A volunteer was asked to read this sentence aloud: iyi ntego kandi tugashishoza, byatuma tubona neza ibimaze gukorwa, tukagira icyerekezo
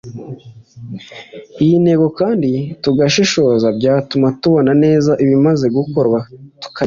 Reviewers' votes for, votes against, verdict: 0, 2, rejected